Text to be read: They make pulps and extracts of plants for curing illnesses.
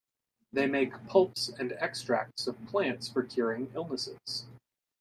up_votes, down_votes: 2, 0